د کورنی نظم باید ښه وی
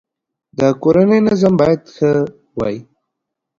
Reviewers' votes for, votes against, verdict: 2, 0, accepted